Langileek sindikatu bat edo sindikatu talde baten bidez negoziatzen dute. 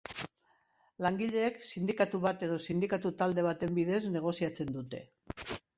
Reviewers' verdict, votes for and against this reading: accepted, 2, 0